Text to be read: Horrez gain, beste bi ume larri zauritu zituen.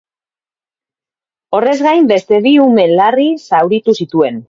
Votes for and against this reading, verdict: 0, 2, rejected